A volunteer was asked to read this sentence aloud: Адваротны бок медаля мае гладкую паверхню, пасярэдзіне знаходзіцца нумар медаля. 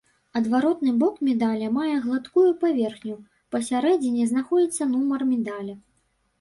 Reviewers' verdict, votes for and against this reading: rejected, 1, 2